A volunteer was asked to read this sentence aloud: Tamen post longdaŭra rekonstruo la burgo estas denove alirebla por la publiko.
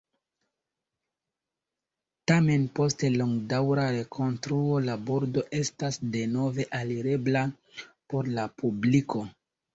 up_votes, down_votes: 1, 2